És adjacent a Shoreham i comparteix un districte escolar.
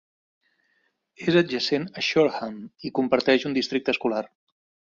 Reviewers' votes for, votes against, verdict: 3, 0, accepted